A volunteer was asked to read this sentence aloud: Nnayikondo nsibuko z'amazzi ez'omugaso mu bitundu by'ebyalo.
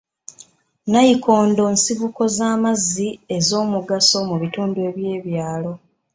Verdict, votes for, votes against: accepted, 2, 0